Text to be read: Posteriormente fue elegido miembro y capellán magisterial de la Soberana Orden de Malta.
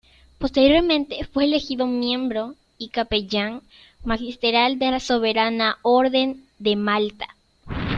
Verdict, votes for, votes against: rejected, 0, 2